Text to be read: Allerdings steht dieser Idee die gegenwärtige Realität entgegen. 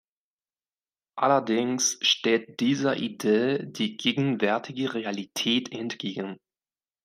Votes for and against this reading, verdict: 2, 0, accepted